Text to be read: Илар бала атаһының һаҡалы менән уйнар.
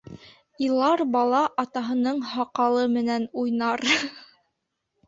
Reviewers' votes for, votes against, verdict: 1, 2, rejected